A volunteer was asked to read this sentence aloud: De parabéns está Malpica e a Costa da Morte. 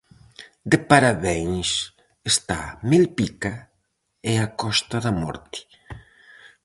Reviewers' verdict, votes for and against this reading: rejected, 0, 4